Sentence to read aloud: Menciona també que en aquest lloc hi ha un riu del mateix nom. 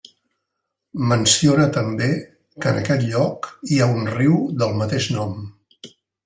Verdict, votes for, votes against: accepted, 2, 0